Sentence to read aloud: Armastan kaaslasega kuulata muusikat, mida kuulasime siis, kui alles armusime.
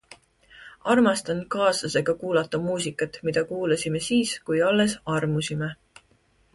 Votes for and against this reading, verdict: 3, 0, accepted